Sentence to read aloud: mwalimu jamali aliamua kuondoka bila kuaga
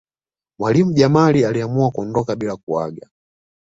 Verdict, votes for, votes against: accepted, 2, 0